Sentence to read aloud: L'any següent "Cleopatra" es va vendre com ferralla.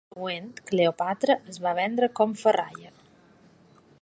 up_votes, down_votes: 0, 2